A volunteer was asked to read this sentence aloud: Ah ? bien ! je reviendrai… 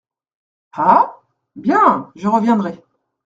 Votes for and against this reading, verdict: 2, 0, accepted